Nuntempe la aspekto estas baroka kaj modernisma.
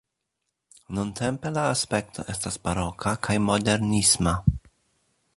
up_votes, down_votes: 2, 0